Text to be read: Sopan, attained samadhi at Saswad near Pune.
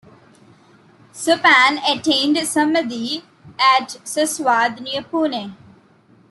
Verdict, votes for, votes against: rejected, 0, 2